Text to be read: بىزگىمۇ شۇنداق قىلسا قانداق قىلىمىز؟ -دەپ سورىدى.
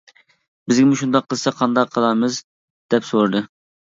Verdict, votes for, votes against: rejected, 1, 2